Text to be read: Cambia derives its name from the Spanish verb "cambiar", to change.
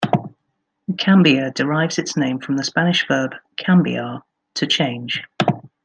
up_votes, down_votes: 2, 0